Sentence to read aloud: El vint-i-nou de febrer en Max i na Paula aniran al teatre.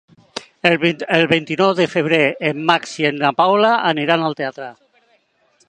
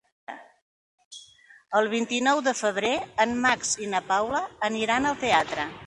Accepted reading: second